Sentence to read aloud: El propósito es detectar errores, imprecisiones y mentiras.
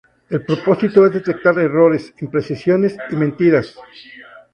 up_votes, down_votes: 2, 2